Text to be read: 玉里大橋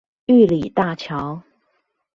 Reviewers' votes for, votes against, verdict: 2, 0, accepted